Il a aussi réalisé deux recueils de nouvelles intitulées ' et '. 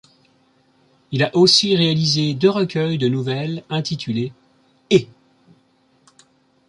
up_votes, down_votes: 2, 0